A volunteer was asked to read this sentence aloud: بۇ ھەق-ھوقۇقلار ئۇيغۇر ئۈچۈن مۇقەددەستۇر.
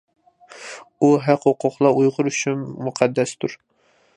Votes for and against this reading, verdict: 2, 1, accepted